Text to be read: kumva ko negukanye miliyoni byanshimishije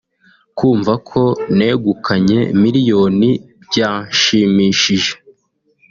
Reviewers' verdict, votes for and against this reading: accepted, 2, 0